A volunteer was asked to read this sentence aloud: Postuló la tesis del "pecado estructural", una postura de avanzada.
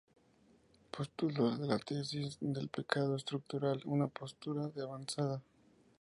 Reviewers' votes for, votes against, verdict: 4, 0, accepted